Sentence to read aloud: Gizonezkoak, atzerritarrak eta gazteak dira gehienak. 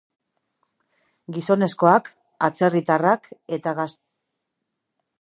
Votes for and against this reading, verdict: 0, 2, rejected